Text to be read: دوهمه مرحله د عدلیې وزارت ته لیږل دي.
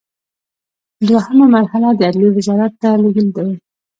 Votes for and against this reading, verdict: 2, 0, accepted